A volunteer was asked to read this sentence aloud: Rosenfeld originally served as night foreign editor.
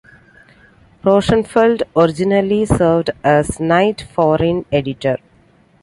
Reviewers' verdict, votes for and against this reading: accepted, 3, 0